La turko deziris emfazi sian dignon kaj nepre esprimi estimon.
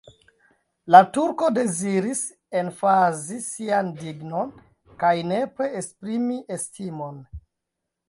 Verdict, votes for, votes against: rejected, 1, 2